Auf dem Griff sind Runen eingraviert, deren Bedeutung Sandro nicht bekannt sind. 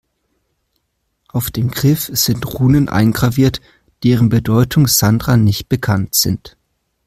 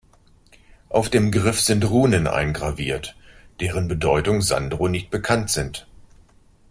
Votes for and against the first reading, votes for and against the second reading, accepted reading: 0, 2, 3, 0, second